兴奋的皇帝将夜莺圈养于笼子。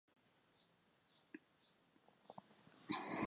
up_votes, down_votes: 0, 2